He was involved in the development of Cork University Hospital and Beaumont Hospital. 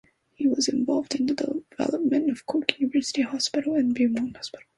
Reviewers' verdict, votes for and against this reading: rejected, 0, 2